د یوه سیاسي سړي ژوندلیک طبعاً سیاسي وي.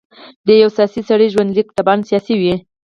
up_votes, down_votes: 2, 4